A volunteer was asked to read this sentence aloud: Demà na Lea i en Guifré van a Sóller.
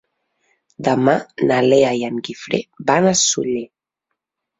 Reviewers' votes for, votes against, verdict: 0, 2, rejected